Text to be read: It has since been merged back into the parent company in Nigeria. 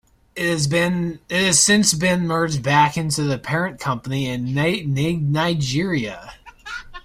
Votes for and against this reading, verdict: 0, 2, rejected